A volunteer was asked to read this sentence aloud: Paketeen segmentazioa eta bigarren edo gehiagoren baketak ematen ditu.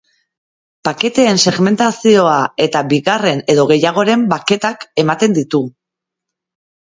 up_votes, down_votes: 3, 0